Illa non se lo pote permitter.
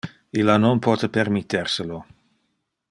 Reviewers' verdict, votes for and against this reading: rejected, 1, 2